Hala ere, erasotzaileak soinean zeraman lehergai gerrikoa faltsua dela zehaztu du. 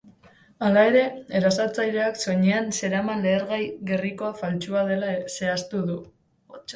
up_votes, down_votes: 1, 2